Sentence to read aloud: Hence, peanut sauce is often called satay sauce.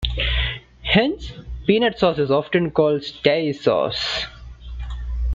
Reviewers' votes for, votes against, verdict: 0, 2, rejected